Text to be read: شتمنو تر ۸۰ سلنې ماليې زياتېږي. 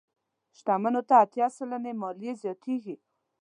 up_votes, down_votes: 0, 2